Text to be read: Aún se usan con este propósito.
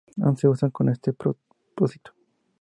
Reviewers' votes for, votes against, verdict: 0, 2, rejected